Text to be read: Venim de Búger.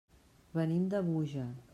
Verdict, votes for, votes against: accepted, 2, 0